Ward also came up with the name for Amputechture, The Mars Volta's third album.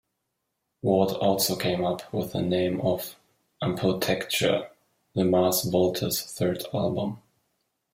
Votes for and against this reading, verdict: 1, 2, rejected